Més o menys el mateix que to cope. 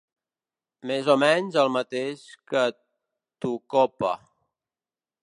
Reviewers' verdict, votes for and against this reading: rejected, 2, 3